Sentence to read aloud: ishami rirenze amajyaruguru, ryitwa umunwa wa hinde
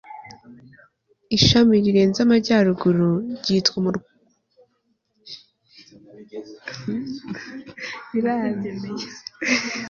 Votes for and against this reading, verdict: 0, 2, rejected